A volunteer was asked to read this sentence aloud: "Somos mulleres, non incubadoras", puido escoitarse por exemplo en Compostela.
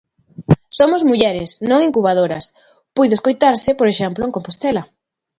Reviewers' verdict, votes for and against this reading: accepted, 2, 0